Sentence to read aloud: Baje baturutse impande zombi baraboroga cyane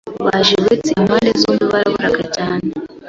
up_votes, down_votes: 1, 2